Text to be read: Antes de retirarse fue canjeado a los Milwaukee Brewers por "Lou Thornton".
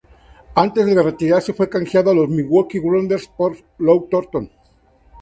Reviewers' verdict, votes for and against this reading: rejected, 2, 2